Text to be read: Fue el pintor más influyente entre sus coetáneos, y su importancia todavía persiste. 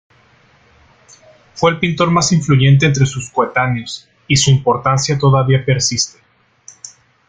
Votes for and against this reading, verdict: 2, 1, accepted